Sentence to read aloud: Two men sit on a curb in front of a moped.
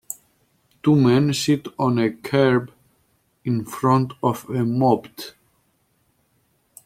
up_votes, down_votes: 0, 2